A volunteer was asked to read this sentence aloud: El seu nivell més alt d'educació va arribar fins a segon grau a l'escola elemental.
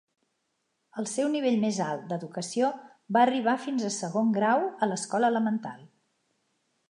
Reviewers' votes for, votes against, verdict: 3, 1, accepted